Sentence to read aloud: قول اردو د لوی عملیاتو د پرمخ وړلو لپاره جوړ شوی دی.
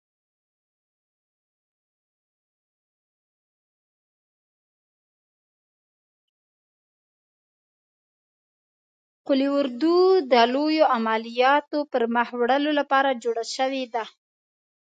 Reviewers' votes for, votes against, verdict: 0, 2, rejected